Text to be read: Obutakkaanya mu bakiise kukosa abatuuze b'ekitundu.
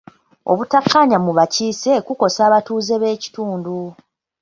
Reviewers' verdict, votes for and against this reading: accepted, 2, 0